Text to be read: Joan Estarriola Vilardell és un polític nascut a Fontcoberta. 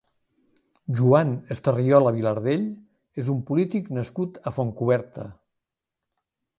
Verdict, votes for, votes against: accepted, 4, 0